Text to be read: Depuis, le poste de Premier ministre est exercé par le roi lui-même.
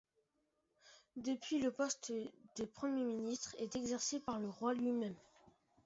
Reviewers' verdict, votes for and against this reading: rejected, 1, 2